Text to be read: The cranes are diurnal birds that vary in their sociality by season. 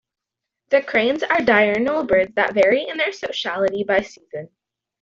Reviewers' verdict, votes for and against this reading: accepted, 2, 1